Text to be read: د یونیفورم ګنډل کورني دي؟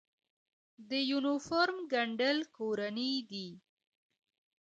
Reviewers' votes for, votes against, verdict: 0, 2, rejected